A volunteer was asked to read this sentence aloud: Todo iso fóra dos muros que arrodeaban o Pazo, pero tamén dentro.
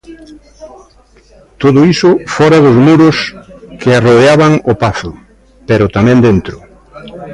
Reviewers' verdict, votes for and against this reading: accepted, 2, 0